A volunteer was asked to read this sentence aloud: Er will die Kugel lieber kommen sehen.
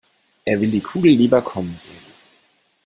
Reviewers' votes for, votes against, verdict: 2, 0, accepted